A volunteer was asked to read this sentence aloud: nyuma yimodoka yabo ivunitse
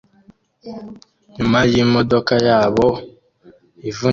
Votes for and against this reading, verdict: 0, 2, rejected